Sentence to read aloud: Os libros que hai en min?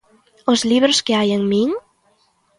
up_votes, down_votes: 2, 0